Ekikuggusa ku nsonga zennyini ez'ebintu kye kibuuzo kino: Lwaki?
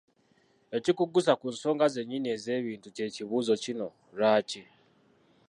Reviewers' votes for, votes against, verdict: 0, 2, rejected